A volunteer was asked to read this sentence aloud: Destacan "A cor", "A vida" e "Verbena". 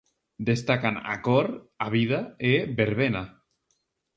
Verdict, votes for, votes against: accepted, 4, 0